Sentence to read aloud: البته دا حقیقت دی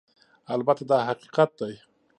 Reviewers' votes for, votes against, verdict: 2, 0, accepted